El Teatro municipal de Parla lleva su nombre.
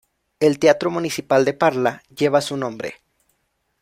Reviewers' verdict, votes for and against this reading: accepted, 2, 0